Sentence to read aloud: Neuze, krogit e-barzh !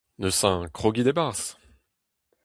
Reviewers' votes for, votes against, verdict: 2, 0, accepted